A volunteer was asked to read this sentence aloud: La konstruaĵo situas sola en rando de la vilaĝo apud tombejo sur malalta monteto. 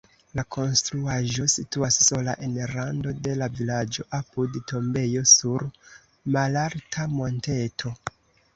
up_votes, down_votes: 1, 2